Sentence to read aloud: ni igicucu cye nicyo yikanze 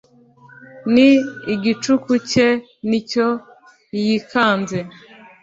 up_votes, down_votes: 1, 2